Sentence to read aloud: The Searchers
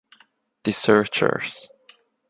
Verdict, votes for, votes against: accepted, 2, 0